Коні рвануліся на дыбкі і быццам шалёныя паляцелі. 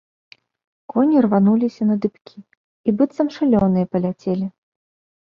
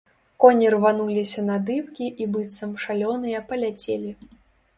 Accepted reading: first